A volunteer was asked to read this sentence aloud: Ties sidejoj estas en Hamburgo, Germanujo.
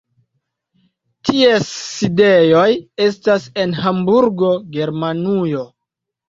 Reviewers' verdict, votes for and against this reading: accepted, 2, 0